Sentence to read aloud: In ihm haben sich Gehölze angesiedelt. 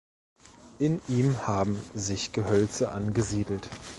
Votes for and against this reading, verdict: 2, 0, accepted